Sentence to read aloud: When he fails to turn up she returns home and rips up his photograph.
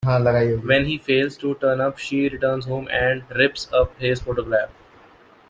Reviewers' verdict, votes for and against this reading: accepted, 2, 1